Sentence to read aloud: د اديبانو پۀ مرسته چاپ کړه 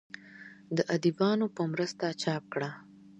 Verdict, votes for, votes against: accepted, 2, 0